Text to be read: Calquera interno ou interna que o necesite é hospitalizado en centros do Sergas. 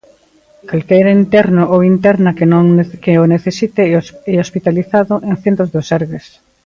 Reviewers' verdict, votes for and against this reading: rejected, 0, 3